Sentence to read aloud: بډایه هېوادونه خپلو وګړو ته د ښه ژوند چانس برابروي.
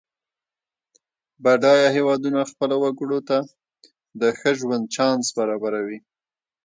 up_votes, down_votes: 2, 0